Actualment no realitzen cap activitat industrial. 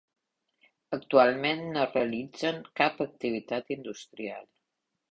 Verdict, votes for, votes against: accepted, 2, 0